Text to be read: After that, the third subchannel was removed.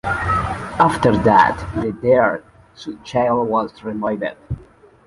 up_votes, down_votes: 1, 2